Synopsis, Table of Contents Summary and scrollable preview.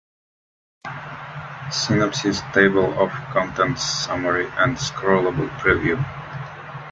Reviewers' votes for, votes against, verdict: 2, 0, accepted